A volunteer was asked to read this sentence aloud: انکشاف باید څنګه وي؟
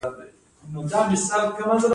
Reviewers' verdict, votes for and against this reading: rejected, 1, 2